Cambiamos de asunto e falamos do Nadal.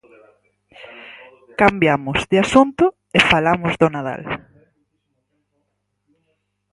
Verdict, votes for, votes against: accepted, 4, 0